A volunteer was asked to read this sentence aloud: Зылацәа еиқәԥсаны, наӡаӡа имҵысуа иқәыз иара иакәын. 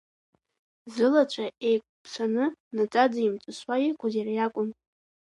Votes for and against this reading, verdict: 3, 0, accepted